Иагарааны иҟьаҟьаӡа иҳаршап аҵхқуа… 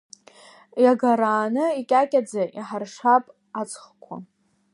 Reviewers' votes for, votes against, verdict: 1, 2, rejected